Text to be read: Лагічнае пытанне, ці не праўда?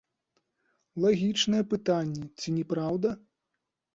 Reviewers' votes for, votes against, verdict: 2, 0, accepted